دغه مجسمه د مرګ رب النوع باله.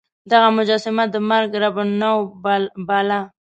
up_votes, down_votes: 0, 2